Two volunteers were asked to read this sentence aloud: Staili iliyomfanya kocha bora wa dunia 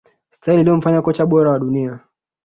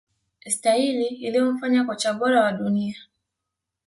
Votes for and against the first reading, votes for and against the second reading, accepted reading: 2, 1, 1, 2, first